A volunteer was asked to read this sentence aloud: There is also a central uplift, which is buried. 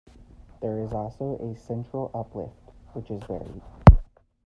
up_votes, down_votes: 1, 2